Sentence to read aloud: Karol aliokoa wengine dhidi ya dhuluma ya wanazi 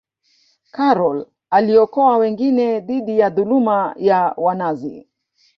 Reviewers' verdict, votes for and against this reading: rejected, 1, 2